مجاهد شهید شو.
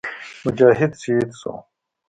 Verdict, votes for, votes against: accepted, 2, 0